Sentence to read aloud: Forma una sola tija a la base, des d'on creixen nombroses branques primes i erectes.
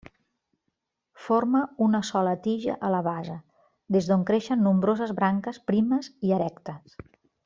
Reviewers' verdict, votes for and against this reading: accepted, 3, 0